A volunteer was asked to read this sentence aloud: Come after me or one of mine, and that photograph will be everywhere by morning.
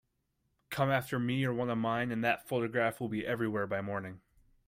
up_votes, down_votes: 2, 0